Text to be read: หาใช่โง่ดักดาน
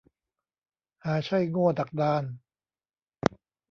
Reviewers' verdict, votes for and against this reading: accepted, 2, 0